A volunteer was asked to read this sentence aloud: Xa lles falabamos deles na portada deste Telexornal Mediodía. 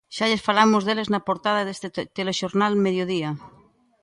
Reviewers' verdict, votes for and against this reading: rejected, 1, 2